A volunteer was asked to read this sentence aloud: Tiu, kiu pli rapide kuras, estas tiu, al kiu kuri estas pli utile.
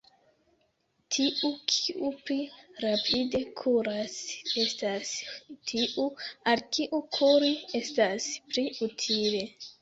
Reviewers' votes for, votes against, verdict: 0, 2, rejected